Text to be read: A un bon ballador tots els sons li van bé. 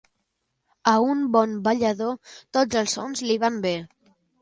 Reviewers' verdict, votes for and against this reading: accepted, 2, 0